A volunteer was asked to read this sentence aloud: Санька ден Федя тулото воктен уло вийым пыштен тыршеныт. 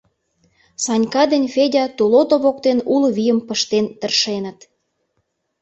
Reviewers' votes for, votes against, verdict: 2, 0, accepted